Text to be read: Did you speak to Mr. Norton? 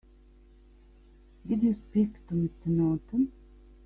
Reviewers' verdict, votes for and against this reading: accepted, 3, 0